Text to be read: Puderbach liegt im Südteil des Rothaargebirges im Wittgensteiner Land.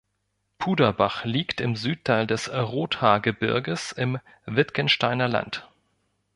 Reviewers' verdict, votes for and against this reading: rejected, 1, 2